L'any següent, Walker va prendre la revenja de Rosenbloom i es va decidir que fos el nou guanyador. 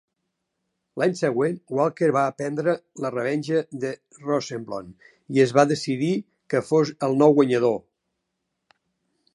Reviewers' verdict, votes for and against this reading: accepted, 5, 0